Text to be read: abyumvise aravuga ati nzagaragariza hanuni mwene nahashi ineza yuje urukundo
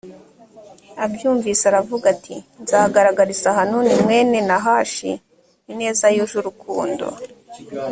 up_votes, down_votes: 2, 0